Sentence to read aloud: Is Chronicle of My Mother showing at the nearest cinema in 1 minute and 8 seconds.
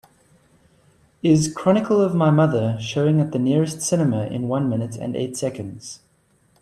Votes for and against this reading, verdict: 0, 2, rejected